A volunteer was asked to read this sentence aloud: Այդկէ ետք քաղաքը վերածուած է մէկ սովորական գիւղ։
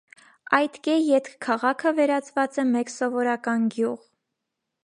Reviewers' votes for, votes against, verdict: 1, 2, rejected